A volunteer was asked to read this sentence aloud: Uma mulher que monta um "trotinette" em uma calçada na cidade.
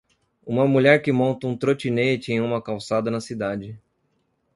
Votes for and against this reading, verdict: 2, 0, accepted